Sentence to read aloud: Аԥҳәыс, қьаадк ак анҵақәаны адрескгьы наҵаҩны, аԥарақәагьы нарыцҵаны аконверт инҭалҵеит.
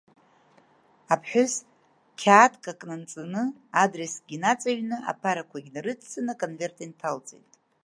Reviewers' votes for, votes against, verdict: 1, 2, rejected